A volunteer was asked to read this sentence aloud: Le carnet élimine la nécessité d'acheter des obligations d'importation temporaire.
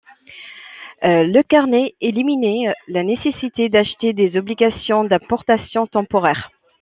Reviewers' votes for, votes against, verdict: 0, 2, rejected